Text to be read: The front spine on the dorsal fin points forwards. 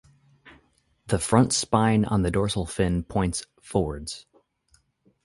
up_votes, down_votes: 4, 0